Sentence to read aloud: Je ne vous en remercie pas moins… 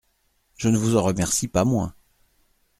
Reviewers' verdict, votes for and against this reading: accepted, 2, 0